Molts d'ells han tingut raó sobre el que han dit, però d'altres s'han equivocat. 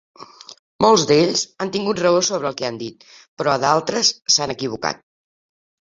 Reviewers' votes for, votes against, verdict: 2, 0, accepted